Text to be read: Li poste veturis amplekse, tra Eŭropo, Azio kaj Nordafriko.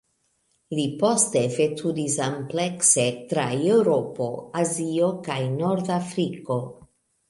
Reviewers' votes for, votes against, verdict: 1, 2, rejected